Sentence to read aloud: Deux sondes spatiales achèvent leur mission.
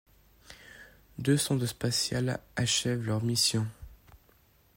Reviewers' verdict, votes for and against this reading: accepted, 2, 0